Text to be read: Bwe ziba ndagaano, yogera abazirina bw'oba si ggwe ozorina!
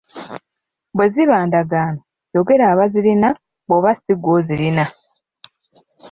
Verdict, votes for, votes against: rejected, 1, 2